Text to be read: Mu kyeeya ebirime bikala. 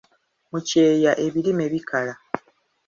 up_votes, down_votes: 2, 0